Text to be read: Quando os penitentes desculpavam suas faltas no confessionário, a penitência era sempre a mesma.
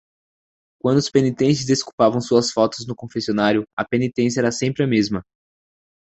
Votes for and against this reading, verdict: 2, 0, accepted